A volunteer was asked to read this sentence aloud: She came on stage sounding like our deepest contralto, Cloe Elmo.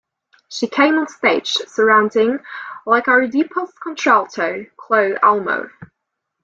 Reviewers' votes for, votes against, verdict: 0, 2, rejected